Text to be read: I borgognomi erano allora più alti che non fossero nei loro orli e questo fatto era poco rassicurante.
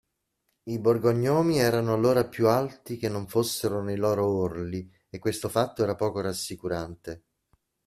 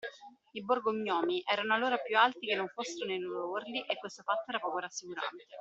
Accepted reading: first